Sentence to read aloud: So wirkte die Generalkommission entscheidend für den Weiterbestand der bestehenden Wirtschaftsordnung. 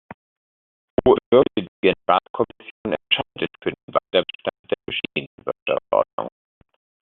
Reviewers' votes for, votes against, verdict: 0, 2, rejected